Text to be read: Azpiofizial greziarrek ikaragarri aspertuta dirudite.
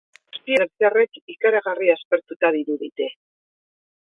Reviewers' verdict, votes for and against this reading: rejected, 2, 2